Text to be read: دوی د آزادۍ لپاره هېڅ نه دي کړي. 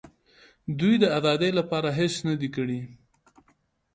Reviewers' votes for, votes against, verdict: 1, 2, rejected